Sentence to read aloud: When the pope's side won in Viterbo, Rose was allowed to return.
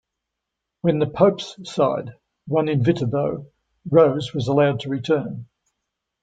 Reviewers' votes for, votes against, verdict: 2, 0, accepted